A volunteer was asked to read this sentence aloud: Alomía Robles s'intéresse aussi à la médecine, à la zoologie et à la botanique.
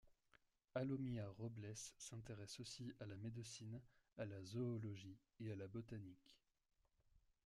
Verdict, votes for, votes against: rejected, 1, 2